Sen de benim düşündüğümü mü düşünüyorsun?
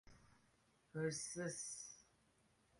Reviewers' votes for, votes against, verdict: 0, 2, rejected